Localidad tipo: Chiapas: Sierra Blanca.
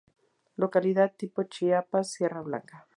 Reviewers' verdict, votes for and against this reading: accepted, 4, 0